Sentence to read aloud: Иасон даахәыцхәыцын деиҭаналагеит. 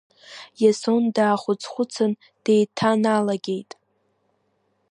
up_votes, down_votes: 1, 2